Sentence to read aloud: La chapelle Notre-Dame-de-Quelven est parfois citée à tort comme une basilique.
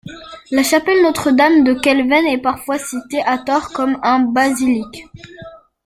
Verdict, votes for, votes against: rejected, 0, 2